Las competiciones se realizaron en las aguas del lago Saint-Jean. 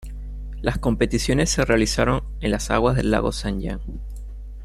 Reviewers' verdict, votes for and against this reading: accepted, 2, 0